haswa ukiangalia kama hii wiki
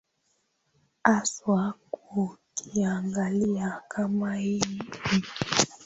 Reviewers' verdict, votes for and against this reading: rejected, 0, 2